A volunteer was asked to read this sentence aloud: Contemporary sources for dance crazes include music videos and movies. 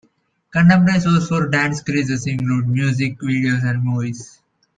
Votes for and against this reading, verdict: 0, 2, rejected